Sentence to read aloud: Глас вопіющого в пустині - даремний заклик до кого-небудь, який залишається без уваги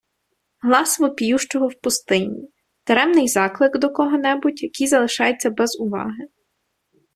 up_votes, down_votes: 2, 0